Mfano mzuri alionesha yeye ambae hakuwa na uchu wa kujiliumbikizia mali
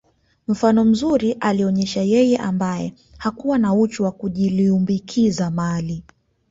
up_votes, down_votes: 2, 0